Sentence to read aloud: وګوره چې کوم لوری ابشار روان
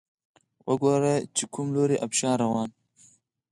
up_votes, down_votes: 2, 4